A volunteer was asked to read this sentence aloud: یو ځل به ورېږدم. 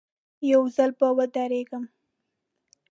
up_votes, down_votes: 0, 2